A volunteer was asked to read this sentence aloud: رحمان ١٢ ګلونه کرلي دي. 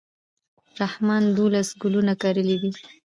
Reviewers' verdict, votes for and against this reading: rejected, 0, 2